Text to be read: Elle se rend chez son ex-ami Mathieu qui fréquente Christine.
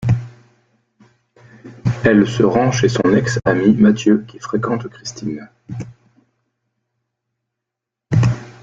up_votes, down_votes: 2, 0